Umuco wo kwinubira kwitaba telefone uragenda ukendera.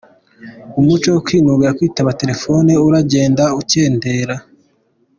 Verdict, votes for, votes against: rejected, 0, 2